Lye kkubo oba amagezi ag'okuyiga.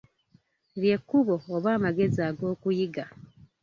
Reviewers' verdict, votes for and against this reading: accepted, 2, 1